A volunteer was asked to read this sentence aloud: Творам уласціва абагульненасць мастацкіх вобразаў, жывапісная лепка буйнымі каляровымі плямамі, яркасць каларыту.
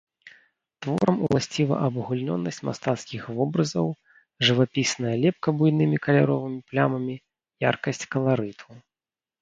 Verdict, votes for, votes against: rejected, 0, 2